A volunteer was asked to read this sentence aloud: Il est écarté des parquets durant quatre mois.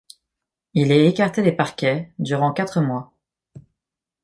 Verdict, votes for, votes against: accepted, 2, 0